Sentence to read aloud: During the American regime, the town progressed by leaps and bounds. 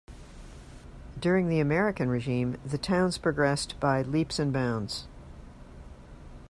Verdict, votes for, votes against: rejected, 0, 2